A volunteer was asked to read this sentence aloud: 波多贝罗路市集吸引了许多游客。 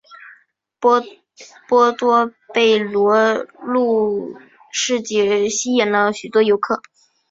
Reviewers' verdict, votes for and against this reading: accepted, 2, 1